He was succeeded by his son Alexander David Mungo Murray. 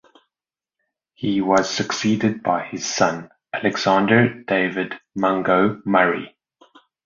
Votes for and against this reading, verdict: 2, 0, accepted